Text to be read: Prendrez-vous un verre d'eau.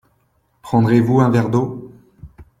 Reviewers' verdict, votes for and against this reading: accepted, 2, 0